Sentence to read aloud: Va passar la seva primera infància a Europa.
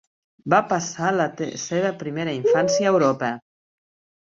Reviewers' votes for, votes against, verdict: 1, 2, rejected